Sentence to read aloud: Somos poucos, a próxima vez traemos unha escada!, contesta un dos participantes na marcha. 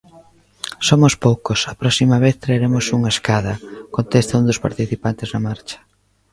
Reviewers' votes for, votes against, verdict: 0, 2, rejected